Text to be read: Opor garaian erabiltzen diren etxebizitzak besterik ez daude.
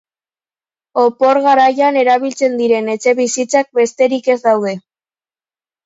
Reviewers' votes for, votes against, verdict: 2, 0, accepted